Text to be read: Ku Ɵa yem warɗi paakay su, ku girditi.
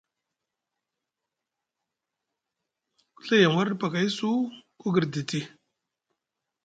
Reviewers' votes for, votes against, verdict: 2, 0, accepted